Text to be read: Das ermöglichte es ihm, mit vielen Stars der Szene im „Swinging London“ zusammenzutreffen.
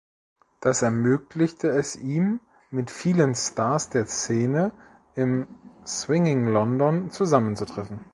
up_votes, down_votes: 2, 0